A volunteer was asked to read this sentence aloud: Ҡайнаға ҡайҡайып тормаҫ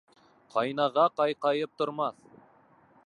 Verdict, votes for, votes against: accepted, 2, 0